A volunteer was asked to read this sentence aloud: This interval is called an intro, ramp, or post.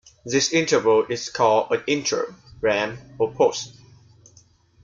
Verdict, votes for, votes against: accepted, 2, 0